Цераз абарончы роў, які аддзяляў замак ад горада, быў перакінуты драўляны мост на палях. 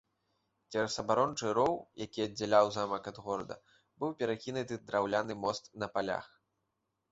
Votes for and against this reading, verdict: 1, 2, rejected